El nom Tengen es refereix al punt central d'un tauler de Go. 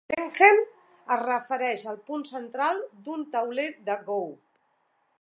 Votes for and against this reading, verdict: 0, 4, rejected